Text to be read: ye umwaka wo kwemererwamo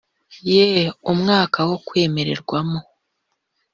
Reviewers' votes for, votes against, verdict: 2, 0, accepted